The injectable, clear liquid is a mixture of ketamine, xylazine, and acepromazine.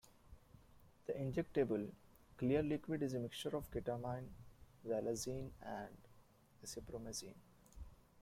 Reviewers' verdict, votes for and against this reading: rejected, 0, 2